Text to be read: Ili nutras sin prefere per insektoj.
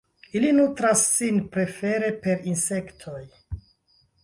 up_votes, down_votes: 0, 2